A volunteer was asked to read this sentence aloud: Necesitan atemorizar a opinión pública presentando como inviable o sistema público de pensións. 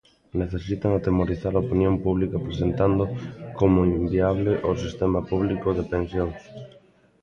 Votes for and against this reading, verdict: 3, 0, accepted